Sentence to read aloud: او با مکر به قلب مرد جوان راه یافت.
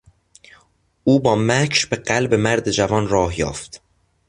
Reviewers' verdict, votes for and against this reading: accepted, 2, 0